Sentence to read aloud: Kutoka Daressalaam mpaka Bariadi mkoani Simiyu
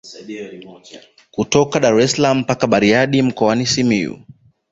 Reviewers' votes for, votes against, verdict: 2, 0, accepted